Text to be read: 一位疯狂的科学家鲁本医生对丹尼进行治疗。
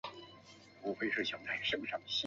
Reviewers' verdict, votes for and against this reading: rejected, 0, 2